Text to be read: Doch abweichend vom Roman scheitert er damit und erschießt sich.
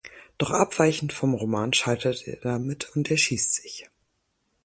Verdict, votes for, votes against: rejected, 0, 4